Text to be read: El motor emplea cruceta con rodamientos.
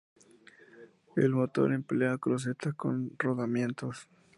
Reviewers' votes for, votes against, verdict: 2, 0, accepted